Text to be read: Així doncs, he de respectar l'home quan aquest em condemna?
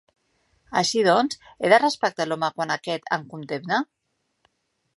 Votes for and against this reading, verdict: 3, 0, accepted